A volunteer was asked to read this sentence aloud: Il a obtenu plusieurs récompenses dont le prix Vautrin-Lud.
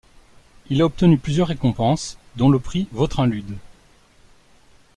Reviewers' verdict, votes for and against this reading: accepted, 2, 0